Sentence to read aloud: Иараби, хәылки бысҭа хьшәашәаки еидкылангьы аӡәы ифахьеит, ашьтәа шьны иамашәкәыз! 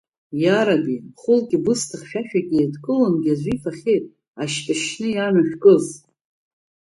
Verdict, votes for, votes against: rejected, 0, 2